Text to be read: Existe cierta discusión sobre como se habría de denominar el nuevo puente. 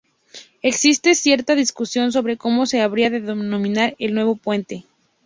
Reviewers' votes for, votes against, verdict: 0, 2, rejected